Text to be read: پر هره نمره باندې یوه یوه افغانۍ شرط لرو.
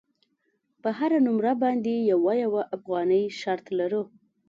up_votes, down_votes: 3, 0